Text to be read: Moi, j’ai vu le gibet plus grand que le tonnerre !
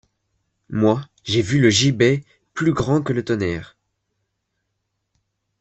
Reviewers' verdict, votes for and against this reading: accepted, 2, 0